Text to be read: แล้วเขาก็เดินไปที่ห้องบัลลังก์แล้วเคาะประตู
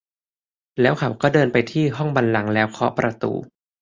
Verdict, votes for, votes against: rejected, 1, 2